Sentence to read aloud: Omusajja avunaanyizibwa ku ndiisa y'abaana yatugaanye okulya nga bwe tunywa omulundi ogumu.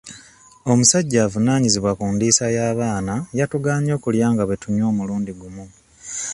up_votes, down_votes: 2, 0